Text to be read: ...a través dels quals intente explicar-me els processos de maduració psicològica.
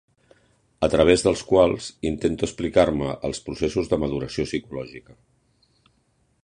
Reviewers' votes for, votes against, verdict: 2, 0, accepted